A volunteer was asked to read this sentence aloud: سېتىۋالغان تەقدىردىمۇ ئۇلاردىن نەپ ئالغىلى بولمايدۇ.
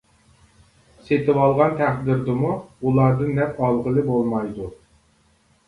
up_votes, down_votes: 2, 0